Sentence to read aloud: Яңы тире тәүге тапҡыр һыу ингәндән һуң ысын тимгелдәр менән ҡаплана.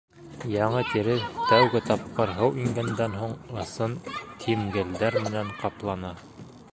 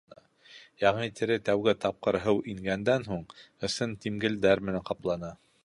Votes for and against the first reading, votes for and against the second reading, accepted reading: 1, 3, 2, 0, second